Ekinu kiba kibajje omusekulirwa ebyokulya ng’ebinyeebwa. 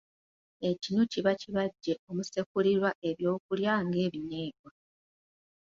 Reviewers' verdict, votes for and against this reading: accepted, 2, 0